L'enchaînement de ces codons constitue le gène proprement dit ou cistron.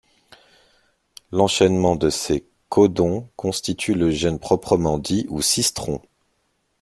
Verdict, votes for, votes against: rejected, 0, 2